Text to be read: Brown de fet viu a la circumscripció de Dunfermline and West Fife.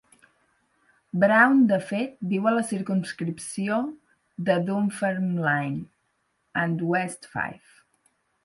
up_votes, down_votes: 4, 0